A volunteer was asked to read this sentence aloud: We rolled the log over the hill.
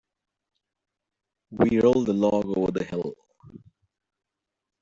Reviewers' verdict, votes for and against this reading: rejected, 0, 2